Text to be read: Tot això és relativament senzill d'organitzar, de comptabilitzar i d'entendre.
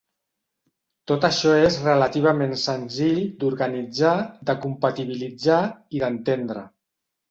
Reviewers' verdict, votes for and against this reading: rejected, 0, 2